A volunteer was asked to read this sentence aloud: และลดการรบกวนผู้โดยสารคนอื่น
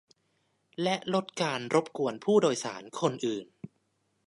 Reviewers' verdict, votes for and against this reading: accepted, 2, 0